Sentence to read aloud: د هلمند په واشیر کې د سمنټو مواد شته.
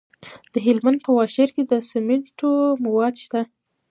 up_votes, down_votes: 2, 0